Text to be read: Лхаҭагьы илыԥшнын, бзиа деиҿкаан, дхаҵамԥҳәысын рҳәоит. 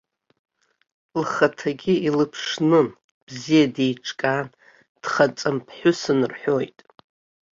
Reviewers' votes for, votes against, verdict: 2, 0, accepted